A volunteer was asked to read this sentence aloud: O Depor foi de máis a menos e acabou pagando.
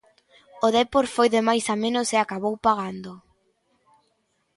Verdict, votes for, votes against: accepted, 2, 0